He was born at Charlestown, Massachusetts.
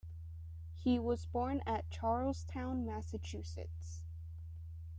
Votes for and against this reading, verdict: 2, 0, accepted